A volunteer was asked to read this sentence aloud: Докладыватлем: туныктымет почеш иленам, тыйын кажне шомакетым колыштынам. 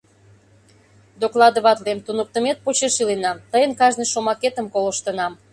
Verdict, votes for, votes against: accepted, 2, 0